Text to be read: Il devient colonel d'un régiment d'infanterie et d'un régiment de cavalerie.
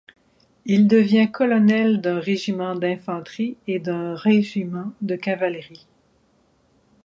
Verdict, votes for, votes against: accepted, 4, 0